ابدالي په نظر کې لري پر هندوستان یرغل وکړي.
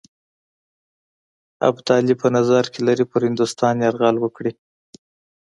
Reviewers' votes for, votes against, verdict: 2, 0, accepted